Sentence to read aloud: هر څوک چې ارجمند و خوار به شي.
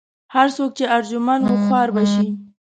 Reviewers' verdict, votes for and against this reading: rejected, 1, 2